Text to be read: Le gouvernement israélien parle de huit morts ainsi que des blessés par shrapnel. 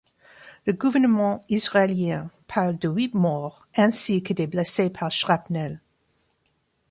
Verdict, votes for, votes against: accepted, 2, 0